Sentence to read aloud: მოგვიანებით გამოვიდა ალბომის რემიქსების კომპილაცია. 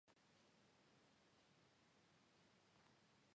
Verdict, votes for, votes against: rejected, 1, 2